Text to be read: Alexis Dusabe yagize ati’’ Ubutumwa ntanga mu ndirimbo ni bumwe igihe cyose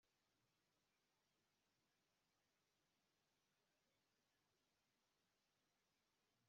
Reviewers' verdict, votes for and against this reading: rejected, 0, 2